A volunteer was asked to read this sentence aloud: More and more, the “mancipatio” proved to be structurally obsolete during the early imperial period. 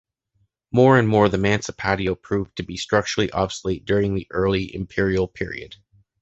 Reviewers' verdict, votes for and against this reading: accepted, 2, 0